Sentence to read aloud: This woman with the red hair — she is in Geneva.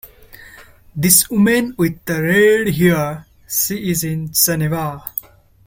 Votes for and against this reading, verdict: 0, 2, rejected